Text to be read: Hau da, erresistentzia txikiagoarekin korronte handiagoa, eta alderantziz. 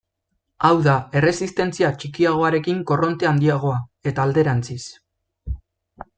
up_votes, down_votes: 2, 0